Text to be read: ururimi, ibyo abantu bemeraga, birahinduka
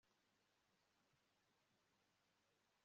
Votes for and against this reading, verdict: 0, 2, rejected